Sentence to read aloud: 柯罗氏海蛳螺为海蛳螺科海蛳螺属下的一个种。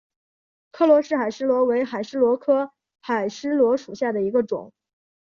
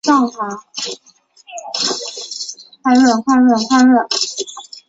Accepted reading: first